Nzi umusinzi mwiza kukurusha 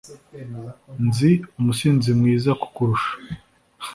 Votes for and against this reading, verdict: 2, 0, accepted